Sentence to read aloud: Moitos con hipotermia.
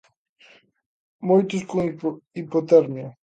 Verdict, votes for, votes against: rejected, 0, 2